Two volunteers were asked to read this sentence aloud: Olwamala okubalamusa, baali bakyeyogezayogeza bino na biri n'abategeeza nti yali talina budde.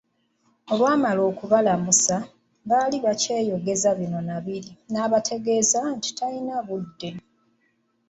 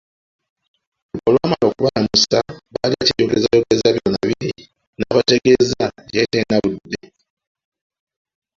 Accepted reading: first